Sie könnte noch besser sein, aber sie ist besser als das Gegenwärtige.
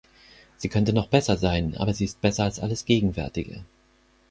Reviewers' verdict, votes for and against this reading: rejected, 0, 4